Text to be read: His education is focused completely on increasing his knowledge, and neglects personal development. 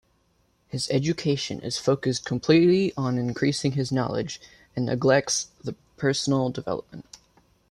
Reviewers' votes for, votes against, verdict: 2, 0, accepted